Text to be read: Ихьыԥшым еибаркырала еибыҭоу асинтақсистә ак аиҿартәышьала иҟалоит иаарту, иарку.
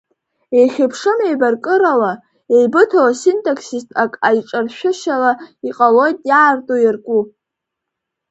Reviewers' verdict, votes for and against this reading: rejected, 0, 2